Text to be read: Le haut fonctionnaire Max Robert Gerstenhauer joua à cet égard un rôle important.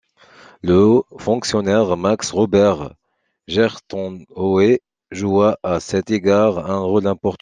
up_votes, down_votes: 1, 2